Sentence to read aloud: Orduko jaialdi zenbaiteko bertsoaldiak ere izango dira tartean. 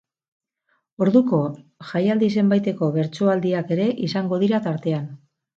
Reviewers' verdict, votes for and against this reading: rejected, 0, 2